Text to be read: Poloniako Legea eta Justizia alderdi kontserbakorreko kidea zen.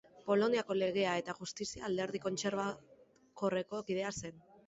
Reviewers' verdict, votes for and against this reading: rejected, 0, 2